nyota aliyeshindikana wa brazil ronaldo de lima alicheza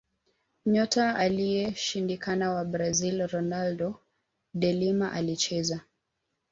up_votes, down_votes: 2, 0